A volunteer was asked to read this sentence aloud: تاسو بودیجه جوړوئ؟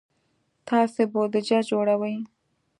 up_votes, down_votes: 2, 0